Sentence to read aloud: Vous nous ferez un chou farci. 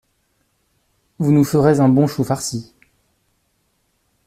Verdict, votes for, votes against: rejected, 0, 2